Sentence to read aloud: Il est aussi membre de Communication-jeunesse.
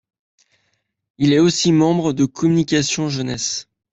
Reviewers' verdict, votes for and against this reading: accepted, 2, 0